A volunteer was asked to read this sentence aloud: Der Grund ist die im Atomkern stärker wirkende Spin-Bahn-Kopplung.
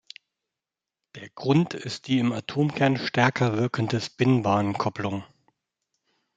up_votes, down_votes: 2, 0